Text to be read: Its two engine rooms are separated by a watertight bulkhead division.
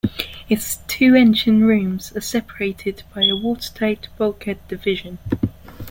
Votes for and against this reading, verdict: 2, 0, accepted